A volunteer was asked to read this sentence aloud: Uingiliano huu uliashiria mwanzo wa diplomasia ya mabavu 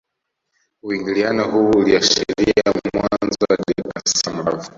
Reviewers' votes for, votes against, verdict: 1, 2, rejected